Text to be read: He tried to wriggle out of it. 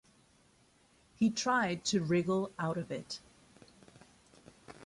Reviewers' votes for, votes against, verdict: 2, 0, accepted